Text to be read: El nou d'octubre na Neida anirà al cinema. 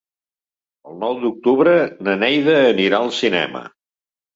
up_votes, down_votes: 4, 0